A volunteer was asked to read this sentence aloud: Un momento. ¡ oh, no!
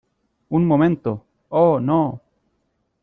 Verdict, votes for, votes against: accepted, 2, 0